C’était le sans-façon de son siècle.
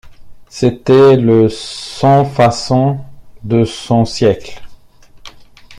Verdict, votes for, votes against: accepted, 2, 0